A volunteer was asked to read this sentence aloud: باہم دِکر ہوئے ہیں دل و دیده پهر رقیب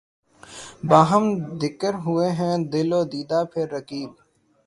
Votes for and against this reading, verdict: 3, 0, accepted